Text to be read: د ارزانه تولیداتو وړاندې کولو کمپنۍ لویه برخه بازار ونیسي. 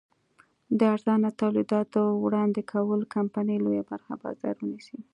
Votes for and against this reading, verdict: 2, 0, accepted